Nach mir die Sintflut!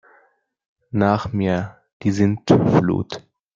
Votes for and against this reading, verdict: 2, 1, accepted